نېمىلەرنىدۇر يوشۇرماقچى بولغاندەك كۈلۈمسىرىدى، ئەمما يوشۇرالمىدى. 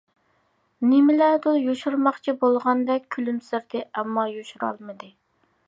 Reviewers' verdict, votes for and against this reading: rejected, 1, 2